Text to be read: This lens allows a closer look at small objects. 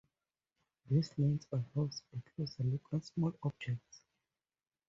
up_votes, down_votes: 2, 0